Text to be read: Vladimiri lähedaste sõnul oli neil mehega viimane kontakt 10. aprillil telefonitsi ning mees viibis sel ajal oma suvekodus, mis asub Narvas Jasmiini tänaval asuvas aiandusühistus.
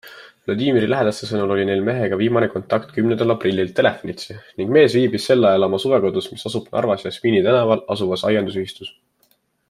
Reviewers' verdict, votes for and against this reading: rejected, 0, 2